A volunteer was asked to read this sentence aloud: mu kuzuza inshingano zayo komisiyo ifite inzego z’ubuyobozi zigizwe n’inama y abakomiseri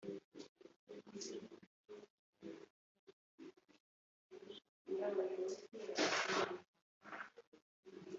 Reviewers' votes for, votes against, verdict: 0, 2, rejected